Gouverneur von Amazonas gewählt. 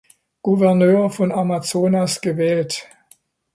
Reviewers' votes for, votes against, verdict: 2, 0, accepted